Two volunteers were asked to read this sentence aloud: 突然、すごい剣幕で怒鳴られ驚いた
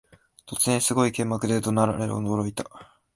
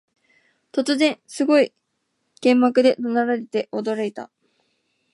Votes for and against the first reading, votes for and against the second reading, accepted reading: 2, 0, 0, 2, first